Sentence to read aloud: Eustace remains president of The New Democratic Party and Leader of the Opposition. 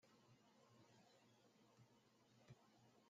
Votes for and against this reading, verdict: 0, 2, rejected